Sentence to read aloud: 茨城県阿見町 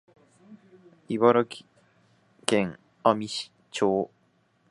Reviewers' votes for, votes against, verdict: 1, 2, rejected